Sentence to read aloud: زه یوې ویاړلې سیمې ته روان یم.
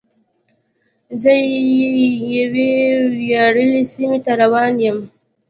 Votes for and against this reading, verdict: 2, 1, accepted